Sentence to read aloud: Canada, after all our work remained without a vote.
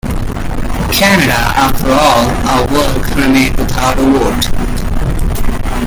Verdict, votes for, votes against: accepted, 2, 0